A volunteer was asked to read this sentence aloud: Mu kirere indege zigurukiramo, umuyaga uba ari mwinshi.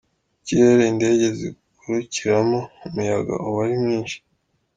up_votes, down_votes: 0, 2